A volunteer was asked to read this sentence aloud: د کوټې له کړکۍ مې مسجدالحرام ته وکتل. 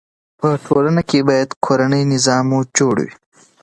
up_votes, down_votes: 1, 2